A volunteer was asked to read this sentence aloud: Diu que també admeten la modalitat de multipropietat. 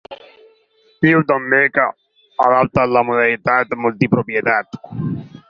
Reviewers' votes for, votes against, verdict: 0, 4, rejected